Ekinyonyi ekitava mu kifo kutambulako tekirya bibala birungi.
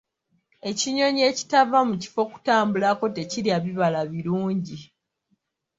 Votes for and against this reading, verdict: 2, 1, accepted